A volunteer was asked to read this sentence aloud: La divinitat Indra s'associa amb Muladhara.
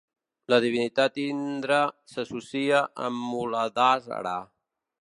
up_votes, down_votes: 0, 2